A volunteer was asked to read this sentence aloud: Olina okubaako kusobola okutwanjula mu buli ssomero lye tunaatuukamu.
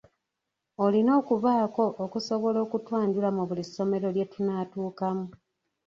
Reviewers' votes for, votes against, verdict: 2, 1, accepted